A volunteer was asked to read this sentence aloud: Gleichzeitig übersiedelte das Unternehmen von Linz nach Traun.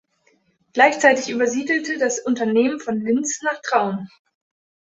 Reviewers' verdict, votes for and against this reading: accepted, 2, 0